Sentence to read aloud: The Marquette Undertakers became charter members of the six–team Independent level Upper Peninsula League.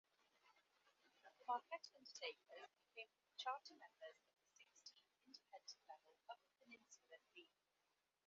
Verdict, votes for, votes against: rejected, 0, 2